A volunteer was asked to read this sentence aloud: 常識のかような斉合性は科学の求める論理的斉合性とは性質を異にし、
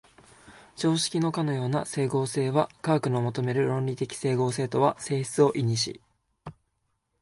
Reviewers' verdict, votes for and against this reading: accepted, 2, 1